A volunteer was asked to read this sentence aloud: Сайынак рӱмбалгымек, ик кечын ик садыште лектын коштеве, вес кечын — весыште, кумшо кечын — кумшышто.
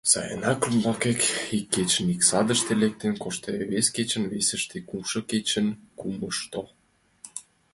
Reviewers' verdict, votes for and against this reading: rejected, 0, 2